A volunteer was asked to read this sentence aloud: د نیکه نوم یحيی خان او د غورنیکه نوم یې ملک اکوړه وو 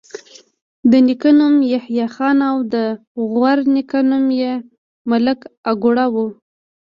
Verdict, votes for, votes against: rejected, 1, 2